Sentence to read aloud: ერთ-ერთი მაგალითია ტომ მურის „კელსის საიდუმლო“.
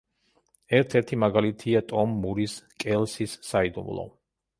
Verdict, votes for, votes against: accepted, 2, 0